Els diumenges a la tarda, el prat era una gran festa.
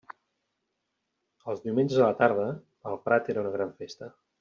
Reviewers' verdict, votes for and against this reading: rejected, 1, 2